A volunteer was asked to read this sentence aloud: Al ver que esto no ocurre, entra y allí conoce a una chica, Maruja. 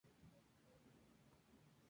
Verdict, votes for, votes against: rejected, 0, 4